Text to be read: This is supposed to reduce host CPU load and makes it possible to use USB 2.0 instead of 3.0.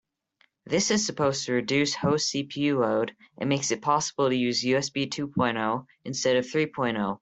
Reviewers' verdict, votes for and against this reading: rejected, 0, 2